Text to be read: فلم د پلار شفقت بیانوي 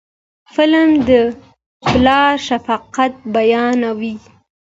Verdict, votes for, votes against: accepted, 2, 0